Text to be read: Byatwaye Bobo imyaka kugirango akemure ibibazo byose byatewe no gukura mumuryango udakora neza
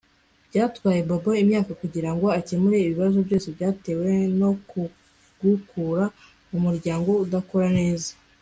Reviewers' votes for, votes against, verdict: 1, 2, rejected